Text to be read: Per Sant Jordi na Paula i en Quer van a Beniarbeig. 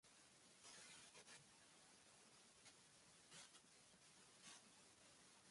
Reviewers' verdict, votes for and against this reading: rejected, 0, 3